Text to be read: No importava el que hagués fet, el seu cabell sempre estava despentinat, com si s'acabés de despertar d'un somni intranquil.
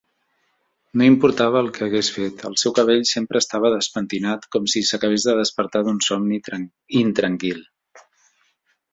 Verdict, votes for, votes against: rejected, 0, 3